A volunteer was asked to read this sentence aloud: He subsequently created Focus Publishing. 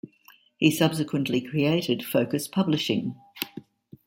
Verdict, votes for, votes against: accepted, 2, 0